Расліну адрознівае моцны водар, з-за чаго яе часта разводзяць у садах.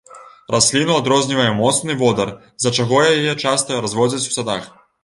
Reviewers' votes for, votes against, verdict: 2, 1, accepted